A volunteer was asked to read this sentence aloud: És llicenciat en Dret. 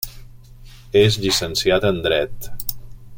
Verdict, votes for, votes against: accepted, 3, 0